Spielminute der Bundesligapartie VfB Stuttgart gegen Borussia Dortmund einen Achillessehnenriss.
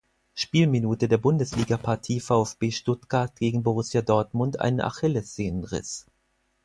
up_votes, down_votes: 4, 0